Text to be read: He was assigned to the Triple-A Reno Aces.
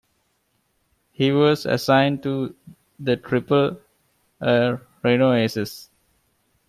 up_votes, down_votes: 0, 2